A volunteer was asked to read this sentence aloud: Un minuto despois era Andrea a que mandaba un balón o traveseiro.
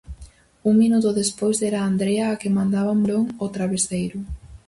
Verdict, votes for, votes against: rejected, 2, 2